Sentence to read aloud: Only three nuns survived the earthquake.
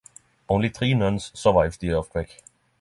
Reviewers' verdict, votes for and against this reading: accepted, 6, 0